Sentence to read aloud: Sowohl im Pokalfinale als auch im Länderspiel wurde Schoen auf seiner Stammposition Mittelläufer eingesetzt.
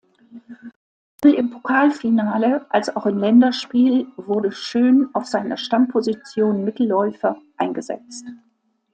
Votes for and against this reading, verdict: 1, 2, rejected